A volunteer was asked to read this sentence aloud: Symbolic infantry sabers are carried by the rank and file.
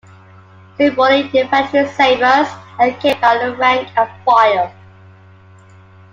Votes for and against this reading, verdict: 0, 2, rejected